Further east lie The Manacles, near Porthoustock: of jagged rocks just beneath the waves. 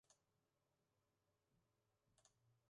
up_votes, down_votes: 0, 2